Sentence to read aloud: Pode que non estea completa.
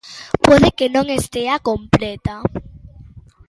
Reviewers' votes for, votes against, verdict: 1, 2, rejected